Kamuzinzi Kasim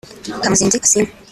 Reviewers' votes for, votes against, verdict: 4, 0, accepted